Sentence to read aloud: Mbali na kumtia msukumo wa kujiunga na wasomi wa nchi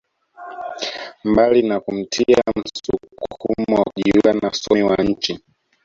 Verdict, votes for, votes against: rejected, 0, 2